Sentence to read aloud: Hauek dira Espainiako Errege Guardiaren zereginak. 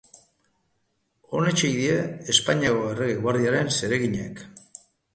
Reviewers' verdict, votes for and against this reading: rejected, 0, 2